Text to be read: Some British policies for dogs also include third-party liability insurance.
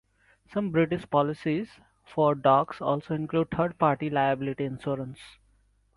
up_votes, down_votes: 2, 0